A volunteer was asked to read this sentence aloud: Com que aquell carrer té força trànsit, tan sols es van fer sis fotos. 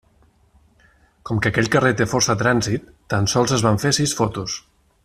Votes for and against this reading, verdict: 3, 0, accepted